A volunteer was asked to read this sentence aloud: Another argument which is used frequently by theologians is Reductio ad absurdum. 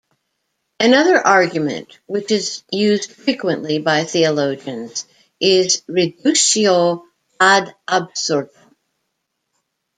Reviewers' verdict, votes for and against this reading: rejected, 1, 2